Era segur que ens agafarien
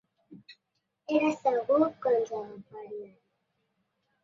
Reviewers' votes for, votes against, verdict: 1, 2, rejected